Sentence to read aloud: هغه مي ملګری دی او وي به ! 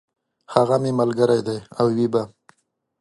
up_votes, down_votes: 2, 0